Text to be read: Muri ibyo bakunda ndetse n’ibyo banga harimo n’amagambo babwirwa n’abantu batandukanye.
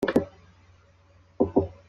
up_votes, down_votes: 2, 1